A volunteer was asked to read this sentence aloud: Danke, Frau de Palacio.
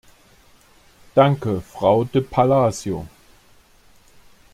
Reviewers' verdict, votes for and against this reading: accepted, 2, 1